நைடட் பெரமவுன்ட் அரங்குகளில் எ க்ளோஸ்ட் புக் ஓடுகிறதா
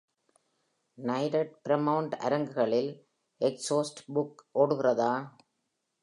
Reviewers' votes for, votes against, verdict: 1, 2, rejected